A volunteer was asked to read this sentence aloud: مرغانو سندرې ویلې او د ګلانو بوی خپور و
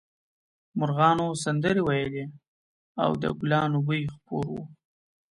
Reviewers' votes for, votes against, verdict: 2, 0, accepted